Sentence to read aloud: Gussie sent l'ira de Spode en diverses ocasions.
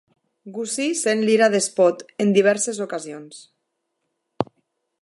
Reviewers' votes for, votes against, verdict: 2, 0, accepted